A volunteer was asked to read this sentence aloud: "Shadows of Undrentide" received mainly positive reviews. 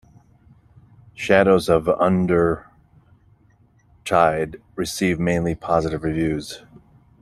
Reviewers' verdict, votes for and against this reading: rejected, 0, 2